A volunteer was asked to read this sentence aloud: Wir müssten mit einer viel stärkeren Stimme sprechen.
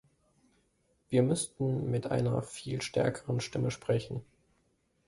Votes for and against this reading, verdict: 2, 0, accepted